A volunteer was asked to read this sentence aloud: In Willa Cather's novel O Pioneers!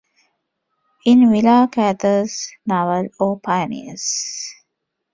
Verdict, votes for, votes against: accepted, 2, 0